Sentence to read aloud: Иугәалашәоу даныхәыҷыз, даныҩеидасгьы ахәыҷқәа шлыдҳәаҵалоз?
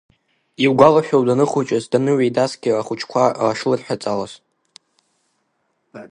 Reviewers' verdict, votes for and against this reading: accepted, 2, 0